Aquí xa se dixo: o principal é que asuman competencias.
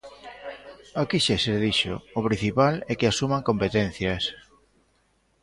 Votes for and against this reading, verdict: 0, 2, rejected